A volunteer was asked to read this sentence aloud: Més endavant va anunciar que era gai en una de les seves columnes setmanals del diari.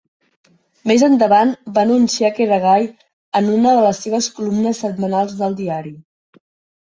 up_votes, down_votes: 3, 0